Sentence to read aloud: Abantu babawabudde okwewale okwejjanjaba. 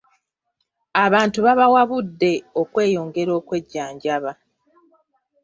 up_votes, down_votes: 0, 2